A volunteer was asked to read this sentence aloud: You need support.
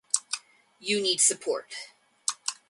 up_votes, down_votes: 2, 0